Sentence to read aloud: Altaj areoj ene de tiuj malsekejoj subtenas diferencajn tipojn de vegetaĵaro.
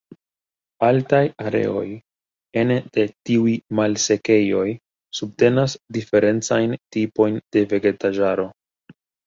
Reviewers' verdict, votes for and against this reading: accepted, 2, 0